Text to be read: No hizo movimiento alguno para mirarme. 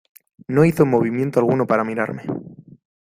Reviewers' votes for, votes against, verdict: 2, 0, accepted